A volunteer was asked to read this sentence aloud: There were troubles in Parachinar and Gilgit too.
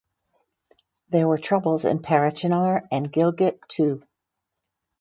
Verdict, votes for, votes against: rejected, 2, 2